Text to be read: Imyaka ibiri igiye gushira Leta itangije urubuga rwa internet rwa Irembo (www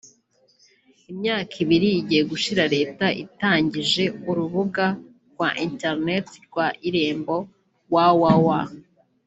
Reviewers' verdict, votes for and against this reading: rejected, 1, 2